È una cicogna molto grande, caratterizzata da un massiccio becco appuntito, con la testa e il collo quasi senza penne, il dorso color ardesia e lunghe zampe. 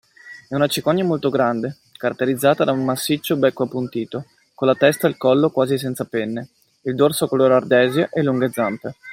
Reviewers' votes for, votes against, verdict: 2, 1, accepted